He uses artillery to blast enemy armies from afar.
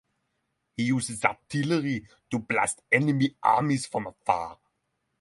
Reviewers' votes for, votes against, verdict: 3, 0, accepted